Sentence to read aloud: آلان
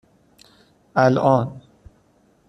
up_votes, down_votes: 1, 2